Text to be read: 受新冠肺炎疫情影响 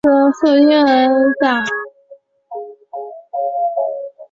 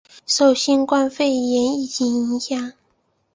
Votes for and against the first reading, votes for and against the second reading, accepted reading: 2, 0, 0, 2, first